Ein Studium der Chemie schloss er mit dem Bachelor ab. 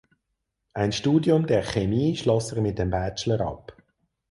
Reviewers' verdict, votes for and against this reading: rejected, 2, 4